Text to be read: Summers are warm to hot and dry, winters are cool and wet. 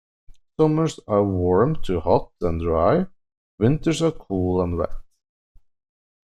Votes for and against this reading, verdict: 2, 1, accepted